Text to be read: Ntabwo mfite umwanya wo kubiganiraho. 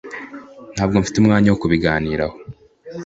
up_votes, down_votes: 2, 0